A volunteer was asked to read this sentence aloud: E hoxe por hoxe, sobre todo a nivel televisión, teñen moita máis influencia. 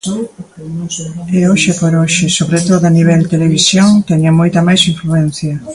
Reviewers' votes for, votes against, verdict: 2, 1, accepted